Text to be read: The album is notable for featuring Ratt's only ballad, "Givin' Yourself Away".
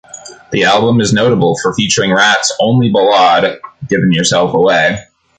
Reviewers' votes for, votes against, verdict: 1, 2, rejected